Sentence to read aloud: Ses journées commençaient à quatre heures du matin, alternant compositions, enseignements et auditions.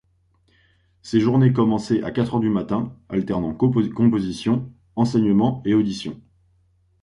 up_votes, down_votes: 0, 2